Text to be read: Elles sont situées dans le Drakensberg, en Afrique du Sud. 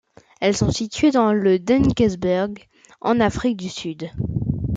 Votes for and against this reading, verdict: 1, 2, rejected